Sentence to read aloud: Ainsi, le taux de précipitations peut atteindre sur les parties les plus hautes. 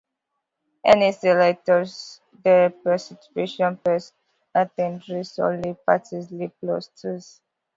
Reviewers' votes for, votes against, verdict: 0, 2, rejected